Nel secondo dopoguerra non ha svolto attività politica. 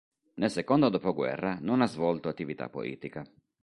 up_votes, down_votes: 2, 1